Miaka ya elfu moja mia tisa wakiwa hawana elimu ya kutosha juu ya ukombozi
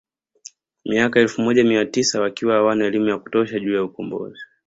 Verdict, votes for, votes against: accepted, 2, 0